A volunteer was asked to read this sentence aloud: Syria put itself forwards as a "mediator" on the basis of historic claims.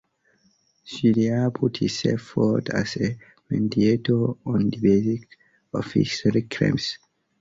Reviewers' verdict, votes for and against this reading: rejected, 0, 2